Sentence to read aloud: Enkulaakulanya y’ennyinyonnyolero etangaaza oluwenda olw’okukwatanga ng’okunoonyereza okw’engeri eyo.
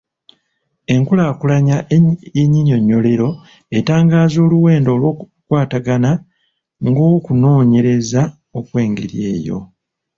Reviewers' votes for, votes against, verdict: 0, 2, rejected